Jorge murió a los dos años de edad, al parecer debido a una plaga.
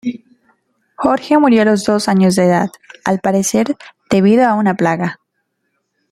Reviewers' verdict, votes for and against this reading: rejected, 1, 3